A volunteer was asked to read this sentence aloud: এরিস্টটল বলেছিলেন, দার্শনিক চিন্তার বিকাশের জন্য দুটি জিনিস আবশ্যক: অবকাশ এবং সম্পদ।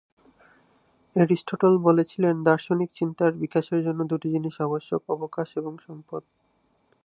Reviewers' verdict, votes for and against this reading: rejected, 0, 2